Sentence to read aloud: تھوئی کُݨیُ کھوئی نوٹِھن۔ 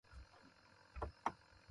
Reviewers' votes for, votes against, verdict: 0, 2, rejected